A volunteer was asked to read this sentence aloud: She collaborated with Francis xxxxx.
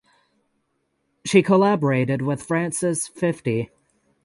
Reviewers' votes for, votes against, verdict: 0, 3, rejected